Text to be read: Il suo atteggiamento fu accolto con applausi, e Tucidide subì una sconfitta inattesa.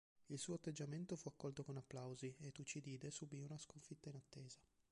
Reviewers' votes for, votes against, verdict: 2, 1, accepted